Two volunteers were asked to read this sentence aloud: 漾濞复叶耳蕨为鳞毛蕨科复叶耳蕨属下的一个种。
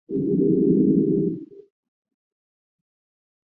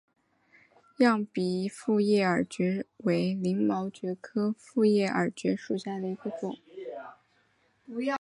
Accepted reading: second